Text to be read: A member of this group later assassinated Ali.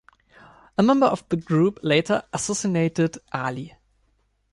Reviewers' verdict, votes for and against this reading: rejected, 2, 3